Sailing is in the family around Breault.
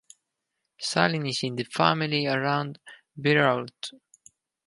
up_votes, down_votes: 4, 0